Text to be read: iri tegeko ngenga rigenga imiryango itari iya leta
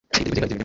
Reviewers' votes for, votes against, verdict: 1, 2, rejected